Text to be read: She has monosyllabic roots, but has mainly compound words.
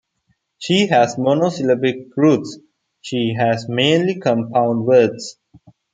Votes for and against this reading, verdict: 0, 2, rejected